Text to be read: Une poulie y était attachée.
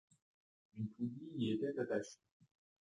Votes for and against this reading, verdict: 0, 2, rejected